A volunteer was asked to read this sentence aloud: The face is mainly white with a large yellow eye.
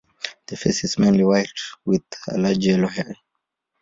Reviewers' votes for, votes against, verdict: 0, 2, rejected